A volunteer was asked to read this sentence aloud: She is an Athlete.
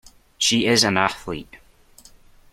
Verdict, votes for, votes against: accepted, 2, 0